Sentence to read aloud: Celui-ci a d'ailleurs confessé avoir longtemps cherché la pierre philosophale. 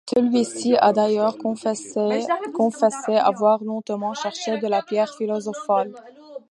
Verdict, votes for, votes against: accepted, 2, 0